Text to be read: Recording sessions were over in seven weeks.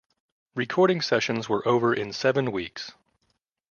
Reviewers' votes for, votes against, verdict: 2, 0, accepted